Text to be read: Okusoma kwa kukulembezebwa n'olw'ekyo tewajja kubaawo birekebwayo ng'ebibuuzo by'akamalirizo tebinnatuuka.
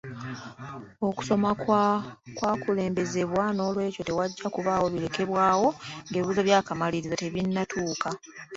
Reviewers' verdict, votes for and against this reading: accepted, 2, 0